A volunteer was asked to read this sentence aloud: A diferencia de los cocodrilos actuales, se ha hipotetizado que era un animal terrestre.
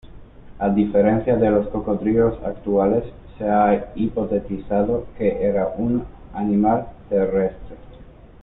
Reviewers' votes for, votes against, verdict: 2, 0, accepted